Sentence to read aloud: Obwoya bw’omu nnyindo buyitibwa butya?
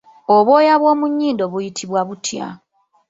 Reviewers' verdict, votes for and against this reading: rejected, 0, 2